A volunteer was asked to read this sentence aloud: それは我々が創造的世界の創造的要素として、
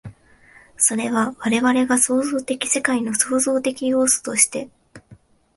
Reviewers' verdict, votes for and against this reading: accepted, 2, 1